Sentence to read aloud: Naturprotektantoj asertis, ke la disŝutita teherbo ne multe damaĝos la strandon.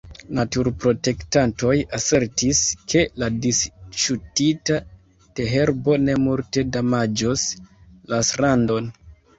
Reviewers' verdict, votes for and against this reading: rejected, 1, 2